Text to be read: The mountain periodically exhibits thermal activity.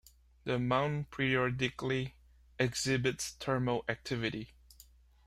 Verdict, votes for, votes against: rejected, 0, 2